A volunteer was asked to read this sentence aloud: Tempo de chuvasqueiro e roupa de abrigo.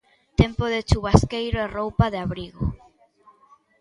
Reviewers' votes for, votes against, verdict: 2, 0, accepted